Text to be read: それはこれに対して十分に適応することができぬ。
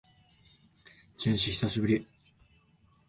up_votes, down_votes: 0, 2